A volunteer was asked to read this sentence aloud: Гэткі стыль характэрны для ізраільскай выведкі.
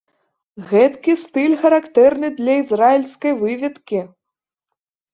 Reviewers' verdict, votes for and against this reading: accepted, 2, 0